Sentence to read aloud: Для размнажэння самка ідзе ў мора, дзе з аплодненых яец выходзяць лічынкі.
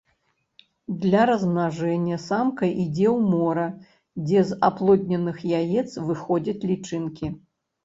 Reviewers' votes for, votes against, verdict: 2, 0, accepted